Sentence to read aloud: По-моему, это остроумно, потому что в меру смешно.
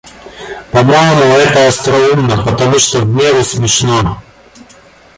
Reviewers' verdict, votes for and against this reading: rejected, 1, 2